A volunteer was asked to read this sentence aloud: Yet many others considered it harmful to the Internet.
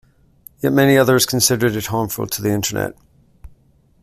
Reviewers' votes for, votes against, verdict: 3, 0, accepted